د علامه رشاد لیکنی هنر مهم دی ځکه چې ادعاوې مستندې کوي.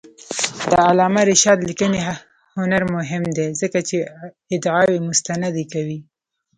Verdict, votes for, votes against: accepted, 2, 1